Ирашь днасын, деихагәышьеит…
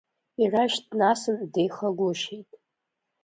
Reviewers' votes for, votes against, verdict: 2, 0, accepted